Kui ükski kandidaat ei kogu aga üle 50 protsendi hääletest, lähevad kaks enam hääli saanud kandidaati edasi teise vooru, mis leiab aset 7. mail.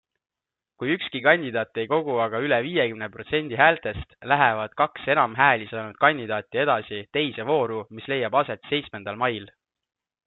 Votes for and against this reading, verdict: 0, 2, rejected